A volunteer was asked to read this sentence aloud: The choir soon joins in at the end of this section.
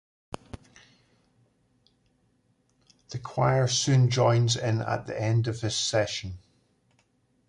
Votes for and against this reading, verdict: 0, 2, rejected